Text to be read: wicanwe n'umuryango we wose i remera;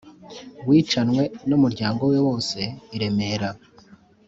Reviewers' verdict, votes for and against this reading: accepted, 3, 0